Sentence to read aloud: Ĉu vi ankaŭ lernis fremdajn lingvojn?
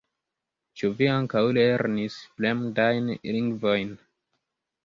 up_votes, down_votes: 1, 2